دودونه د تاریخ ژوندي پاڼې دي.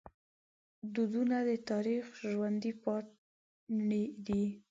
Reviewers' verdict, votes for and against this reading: rejected, 0, 2